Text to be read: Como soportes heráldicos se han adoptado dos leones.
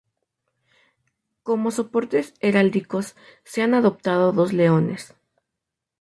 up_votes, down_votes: 4, 0